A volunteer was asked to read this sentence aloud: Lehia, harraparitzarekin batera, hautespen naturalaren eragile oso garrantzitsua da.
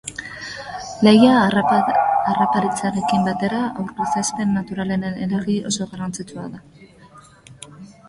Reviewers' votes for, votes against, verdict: 1, 2, rejected